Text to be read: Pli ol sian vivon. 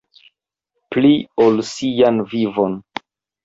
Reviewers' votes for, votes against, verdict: 1, 2, rejected